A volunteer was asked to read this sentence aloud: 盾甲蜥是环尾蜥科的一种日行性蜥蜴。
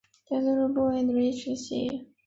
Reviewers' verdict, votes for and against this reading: rejected, 0, 3